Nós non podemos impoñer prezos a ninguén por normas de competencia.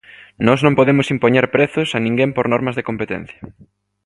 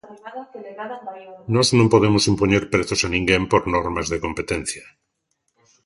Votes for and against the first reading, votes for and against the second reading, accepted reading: 3, 0, 1, 2, first